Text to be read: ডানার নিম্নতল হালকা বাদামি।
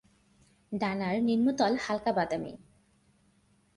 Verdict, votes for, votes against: rejected, 0, 2